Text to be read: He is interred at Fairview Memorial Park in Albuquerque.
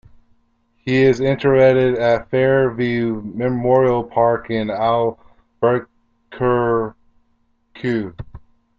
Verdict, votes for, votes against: rejected, 0, 2